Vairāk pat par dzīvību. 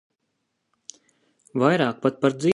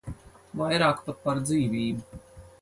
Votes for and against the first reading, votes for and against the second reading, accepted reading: 0, 2, 4, 2, second